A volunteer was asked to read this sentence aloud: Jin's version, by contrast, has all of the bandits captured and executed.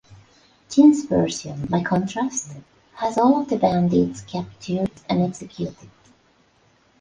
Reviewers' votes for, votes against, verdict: 3, 0, accepted